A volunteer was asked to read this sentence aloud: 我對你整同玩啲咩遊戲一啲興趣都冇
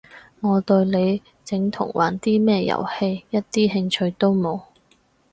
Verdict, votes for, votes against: accepted, 2, 0